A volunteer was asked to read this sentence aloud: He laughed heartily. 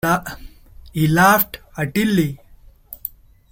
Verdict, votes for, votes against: rejected, 0, 2